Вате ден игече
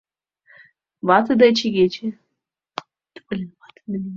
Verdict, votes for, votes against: rejected, 2, 3